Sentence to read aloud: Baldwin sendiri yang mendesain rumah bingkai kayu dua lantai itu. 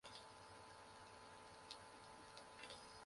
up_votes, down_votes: 0, 2